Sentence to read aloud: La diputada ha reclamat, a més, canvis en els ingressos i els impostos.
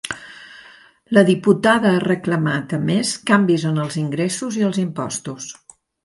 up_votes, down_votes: 3, 0